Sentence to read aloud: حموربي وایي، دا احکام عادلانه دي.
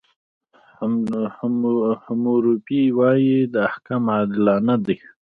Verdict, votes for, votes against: rejected, 0, 2